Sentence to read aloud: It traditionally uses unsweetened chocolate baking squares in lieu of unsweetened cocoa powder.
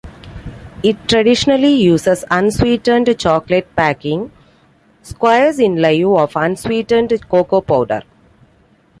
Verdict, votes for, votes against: accepted, 2, 0